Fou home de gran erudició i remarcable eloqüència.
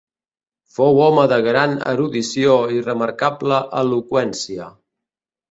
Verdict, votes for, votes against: accepted, 2, 0